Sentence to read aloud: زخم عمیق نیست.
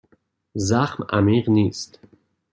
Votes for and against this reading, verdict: 2, 0, accepted